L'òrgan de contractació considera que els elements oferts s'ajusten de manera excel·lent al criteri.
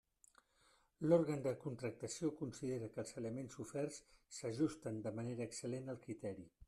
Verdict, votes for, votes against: rejected, 0, 2